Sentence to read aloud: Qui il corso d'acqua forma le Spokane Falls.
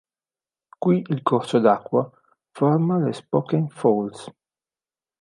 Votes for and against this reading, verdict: 2, 0, accepted